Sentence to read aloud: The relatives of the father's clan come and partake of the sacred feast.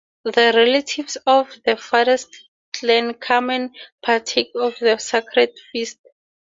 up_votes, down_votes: 4, 0